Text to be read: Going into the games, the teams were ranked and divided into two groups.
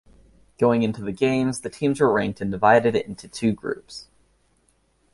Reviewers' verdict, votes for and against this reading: accepted, 2, 0